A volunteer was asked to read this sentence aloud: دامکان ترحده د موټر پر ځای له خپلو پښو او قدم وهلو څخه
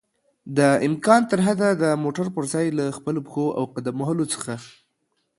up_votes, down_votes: 2, 0